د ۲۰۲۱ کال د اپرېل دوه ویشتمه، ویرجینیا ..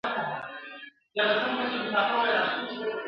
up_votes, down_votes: 0, 2